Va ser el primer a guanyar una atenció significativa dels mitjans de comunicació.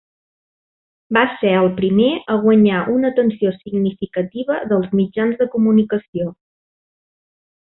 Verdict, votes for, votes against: accepted, 3, 0